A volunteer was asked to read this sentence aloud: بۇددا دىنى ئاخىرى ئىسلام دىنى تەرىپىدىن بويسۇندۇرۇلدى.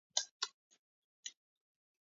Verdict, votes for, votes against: rejected, 0, 2